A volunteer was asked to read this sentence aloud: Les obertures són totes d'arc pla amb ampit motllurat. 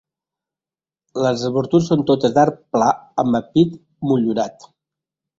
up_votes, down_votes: 1, 2